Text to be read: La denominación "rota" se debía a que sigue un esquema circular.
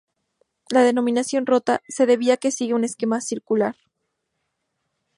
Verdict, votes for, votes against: accepted, 4, 0